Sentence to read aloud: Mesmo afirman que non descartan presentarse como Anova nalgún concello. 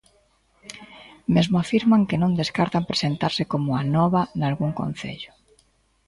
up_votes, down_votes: 2, 0